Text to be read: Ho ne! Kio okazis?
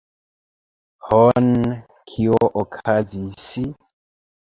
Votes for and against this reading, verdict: 0, 2, rejected